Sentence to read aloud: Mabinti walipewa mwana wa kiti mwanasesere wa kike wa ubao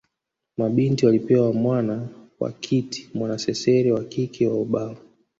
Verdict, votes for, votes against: rejected, 0, 2